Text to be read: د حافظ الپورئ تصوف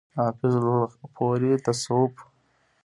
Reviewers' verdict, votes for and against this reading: accepted, 2, 0